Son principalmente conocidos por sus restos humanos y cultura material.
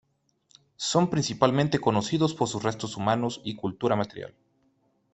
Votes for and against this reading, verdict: 2, 0, accepted